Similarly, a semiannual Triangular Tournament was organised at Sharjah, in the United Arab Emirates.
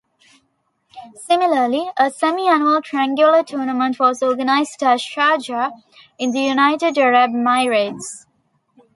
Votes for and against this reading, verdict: 0, 2, rejected